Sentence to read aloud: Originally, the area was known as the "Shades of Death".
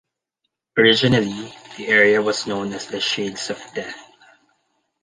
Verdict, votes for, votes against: accepted, 2, 0